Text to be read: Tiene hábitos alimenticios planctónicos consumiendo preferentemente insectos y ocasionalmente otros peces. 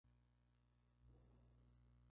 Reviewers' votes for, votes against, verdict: 0, 2, rejected